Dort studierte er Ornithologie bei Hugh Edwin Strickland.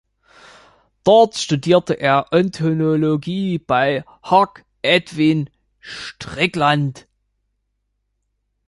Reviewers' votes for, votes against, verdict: 0, 2, rejected